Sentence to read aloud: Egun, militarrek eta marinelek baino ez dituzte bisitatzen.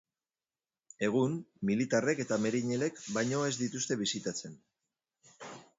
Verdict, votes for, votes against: rejected, 0, 2